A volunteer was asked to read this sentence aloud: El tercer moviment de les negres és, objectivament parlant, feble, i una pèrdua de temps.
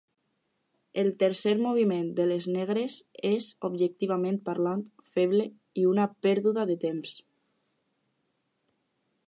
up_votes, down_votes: 4, 6